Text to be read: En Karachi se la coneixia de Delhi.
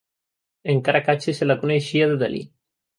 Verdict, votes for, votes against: rejected, 0, 2